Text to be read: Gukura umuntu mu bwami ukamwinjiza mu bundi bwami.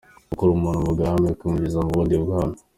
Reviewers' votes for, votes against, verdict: 2, 0, accepted